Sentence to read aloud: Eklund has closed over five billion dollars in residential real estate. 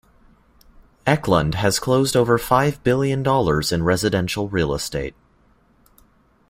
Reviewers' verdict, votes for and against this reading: accepted, 2, 0